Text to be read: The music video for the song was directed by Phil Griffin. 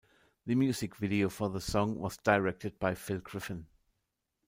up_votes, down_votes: 2, 1